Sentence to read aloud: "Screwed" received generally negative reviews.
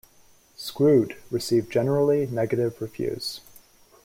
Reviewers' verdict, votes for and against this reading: accepted, 2, 1